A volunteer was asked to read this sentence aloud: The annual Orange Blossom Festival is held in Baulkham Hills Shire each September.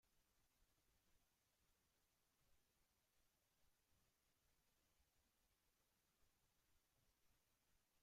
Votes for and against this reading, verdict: 0, 2, rejected